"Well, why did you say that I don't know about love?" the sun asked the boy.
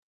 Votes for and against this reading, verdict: 0, 2, rejected